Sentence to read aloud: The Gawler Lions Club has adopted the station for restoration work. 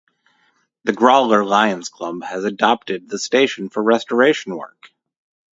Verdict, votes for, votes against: rejected, 0, 2